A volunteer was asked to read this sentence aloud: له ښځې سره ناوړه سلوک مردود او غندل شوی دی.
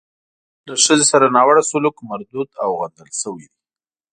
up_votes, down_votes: 2, 0